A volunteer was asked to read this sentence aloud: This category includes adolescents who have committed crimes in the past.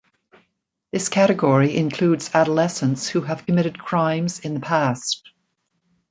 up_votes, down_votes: 1, 2